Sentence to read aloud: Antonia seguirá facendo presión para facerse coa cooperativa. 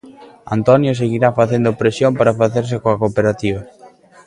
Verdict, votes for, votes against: accepted, 2, 0